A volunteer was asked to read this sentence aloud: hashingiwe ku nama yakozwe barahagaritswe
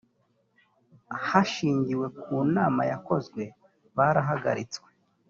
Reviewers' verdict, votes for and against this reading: rejected, 0, 2